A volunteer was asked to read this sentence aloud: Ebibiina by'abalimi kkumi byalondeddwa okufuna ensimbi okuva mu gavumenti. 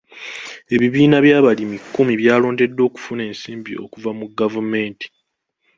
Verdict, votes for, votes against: accepted, 2, 1